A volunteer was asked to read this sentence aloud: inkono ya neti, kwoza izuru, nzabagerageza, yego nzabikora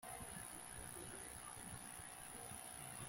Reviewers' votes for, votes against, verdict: 0, 2, rejected